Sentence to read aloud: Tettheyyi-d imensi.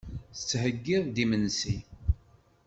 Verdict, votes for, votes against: rejected, 1, 2